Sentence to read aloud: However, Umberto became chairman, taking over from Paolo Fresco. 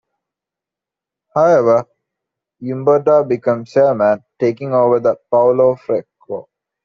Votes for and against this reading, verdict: 2, 1, accepted